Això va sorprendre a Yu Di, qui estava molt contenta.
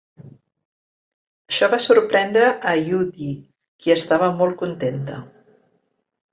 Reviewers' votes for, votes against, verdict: 3, 1, accepted